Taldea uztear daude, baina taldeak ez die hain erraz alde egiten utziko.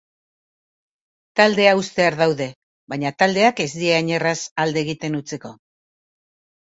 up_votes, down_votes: 2, 0